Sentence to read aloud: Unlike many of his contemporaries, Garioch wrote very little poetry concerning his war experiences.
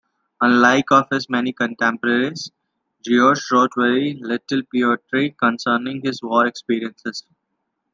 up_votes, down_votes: 2, 0